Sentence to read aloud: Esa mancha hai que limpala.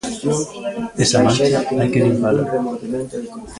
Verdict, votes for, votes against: rejected, 0, 2